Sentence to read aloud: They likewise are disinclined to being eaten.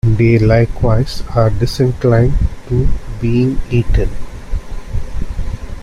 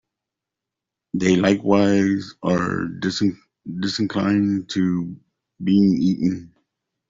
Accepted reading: first